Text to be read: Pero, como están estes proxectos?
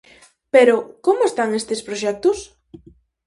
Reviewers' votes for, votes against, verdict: 4, 0, accepted